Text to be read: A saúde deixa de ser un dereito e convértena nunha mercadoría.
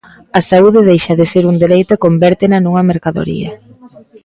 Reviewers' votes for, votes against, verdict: 2, 1, accepted